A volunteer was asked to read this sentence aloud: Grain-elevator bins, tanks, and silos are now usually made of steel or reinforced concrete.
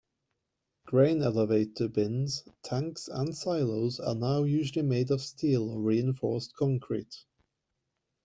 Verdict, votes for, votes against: accepted, 2, 1